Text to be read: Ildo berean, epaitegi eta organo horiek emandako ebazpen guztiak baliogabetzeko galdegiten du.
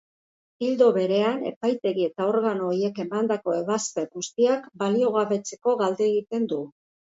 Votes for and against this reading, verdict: 2, 0, accepted